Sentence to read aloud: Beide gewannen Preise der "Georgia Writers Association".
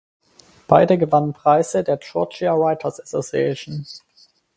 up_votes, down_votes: 4, 0